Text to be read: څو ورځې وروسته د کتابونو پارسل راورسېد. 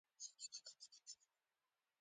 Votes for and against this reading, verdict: 0, 2, rejected